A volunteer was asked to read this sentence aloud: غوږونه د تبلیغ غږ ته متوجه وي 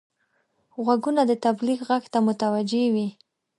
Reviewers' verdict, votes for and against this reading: accepted, 2, 0